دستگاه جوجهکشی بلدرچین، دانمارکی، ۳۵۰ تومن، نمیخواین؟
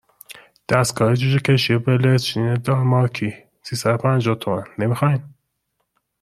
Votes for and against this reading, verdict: 0, 2, rejected